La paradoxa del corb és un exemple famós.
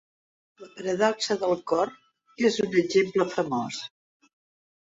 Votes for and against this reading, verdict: 1, 2, rejected